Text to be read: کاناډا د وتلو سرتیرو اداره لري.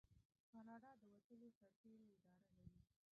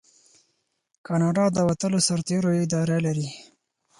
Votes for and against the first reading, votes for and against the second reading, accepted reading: 0, 2, 4, 0, second